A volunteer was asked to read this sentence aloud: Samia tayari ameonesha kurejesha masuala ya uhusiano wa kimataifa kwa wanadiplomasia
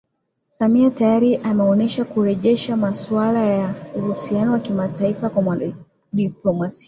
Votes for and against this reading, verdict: 1, 2, rejected